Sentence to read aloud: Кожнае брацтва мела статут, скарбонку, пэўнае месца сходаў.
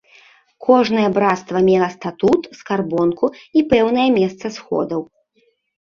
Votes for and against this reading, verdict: 0, 3, rejected